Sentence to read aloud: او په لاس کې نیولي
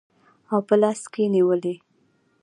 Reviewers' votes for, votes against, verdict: 2, 1, accepted